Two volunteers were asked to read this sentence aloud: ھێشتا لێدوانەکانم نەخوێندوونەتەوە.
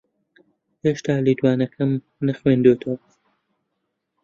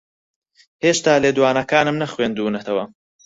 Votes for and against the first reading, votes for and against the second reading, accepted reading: 0, 2, 4, 2, second